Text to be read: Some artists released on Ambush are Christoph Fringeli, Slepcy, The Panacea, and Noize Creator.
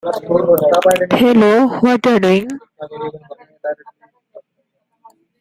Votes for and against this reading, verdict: 0, 2, rejected